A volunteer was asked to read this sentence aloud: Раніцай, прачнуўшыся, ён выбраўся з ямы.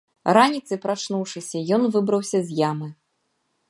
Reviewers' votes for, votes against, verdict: 2, 0, accepted